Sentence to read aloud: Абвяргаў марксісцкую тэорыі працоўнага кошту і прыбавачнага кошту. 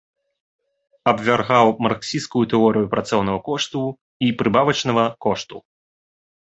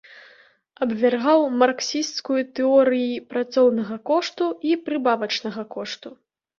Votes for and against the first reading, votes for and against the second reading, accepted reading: 2, 3, 2, 0, second